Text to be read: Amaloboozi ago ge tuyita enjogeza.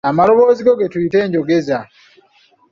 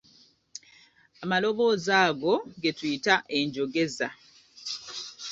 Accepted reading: second